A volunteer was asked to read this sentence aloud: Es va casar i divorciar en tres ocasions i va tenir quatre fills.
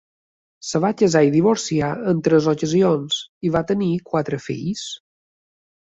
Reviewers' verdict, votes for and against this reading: accepted, 2, 0